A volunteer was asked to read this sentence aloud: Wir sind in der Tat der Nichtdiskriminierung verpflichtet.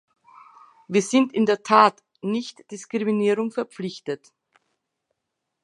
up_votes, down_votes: 0, 2